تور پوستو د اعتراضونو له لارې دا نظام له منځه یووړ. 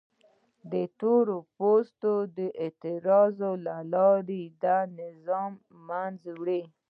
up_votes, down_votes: 0, 2